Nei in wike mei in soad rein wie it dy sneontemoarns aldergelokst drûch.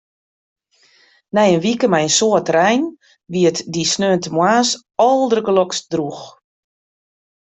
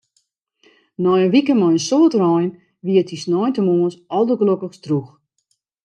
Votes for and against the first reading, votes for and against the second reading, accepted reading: 2, 0, 0, 2, first